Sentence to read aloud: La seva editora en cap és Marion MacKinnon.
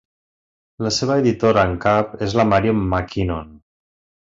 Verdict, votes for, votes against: rejected, 1, 2